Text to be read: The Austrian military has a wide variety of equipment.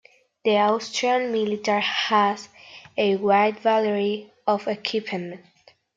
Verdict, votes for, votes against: rejected, 0, 2